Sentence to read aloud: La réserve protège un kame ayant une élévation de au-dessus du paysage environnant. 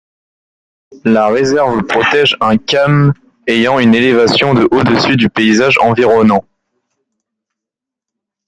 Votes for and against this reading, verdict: 2, 0, accepted